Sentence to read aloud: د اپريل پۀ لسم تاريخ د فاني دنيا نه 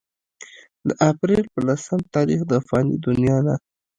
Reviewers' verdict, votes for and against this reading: rejected, 0, 2